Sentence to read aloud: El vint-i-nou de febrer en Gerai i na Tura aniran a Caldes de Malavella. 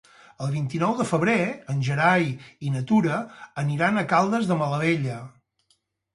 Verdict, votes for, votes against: rejected, 2, 2